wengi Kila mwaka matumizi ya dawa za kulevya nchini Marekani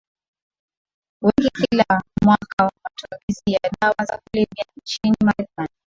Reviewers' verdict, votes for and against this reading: rejected, 0, 2